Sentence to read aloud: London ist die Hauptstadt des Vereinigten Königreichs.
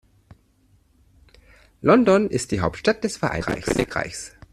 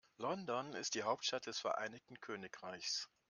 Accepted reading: second